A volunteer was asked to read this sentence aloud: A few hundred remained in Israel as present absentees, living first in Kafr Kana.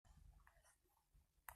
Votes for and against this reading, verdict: 0, 3, rejected